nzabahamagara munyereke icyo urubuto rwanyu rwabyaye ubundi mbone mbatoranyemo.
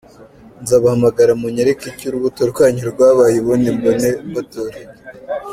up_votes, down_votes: 1, 2